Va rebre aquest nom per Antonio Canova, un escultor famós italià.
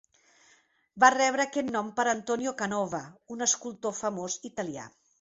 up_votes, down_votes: 4, 0